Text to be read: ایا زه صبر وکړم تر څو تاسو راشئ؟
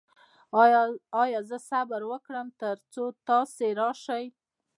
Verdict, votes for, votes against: rejected, 1, 2